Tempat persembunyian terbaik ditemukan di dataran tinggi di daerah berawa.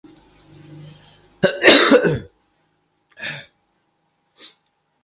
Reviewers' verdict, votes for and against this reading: rejected, 0, 2